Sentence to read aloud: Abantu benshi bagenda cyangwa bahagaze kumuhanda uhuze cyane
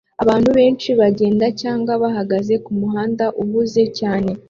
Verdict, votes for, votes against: rejected, 0, 2